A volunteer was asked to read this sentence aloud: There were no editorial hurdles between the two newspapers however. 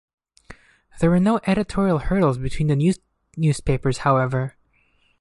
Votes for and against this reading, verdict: 1, 2, rejected